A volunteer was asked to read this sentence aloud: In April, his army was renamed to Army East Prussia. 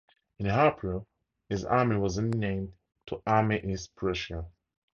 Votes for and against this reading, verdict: 4, 0, accepted